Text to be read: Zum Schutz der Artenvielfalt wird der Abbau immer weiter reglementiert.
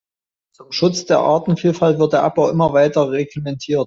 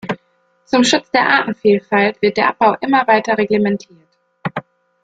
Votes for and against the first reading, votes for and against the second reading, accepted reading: 0, 2, 2, 0, second